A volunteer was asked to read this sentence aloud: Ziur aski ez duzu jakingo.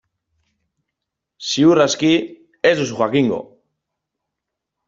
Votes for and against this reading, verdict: 1, 2, rejected